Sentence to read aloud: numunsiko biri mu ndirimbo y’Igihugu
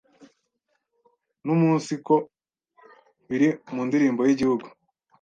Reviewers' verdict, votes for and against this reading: accepted, 2, 0